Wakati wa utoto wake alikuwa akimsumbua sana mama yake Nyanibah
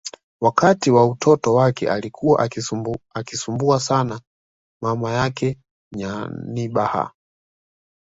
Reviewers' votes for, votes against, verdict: 2, 0, accepted